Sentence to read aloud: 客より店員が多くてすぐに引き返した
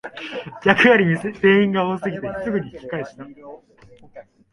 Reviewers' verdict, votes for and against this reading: rejected, 1, 2